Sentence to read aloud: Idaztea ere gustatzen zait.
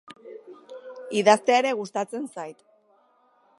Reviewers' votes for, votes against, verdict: 3, 0, accepted